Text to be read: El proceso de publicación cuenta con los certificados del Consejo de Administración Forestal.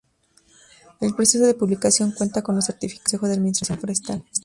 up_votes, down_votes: 0, 2